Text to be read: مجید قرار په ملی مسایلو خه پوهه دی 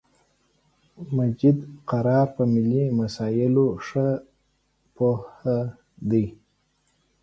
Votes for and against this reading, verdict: 2, 0, accepted